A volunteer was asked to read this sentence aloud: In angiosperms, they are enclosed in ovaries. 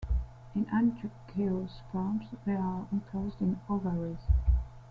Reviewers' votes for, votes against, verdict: 0, 2, rejected